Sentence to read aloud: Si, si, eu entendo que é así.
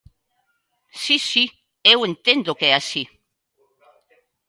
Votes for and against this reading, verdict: 2, 0, accepted